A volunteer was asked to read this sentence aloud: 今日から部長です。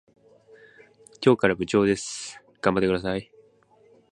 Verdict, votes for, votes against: rejected, 1, 2